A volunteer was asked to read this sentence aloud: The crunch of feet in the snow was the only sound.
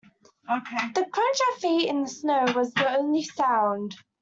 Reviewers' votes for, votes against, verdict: 0, 2, rejected